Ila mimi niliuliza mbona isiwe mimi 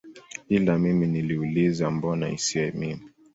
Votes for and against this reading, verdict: 2, 0, accepted